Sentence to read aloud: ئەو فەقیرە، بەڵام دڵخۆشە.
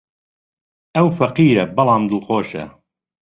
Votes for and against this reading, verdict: 2, 0, accepted